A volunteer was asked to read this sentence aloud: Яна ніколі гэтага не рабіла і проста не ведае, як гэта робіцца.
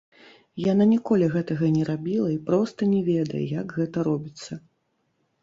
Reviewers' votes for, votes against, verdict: 1, 2, rejected